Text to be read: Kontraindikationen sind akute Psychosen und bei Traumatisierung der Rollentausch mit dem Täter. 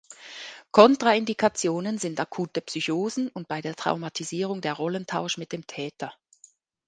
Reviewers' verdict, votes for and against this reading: rejected, 1, 2